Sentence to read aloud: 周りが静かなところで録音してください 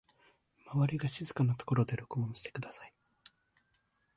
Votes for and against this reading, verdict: 1, 2, rejected